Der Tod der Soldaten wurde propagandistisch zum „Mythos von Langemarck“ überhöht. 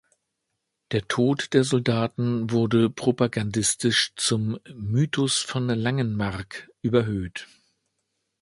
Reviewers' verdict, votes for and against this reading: rejected, 1, 2